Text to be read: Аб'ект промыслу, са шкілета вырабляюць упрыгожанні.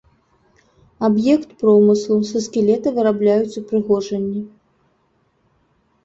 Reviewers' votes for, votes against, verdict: 1, 2, rejected